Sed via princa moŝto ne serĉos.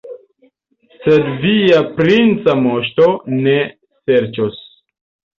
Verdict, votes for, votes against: accepted, 2, 0